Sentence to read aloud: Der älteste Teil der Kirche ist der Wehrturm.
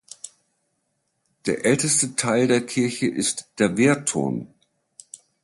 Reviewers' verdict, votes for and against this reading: accepted, 2, 0